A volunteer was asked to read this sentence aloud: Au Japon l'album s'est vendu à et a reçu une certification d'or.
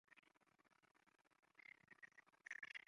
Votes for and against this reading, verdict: 0, 2, rejected